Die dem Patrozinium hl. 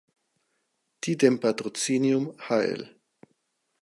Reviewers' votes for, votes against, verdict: 4, 0, accepted